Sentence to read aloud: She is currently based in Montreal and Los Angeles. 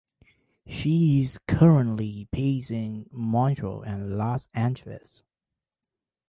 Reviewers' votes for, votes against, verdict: 0, 2, rejected